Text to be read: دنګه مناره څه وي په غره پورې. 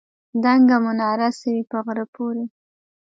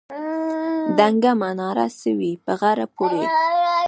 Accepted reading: first